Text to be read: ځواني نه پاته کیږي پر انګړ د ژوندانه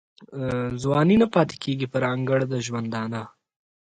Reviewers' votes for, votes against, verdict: 2, 0, accepted